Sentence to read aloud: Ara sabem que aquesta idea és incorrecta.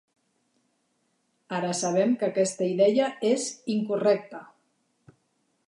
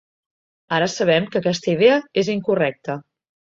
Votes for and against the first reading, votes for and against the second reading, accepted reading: 1, 3, 4, 0, second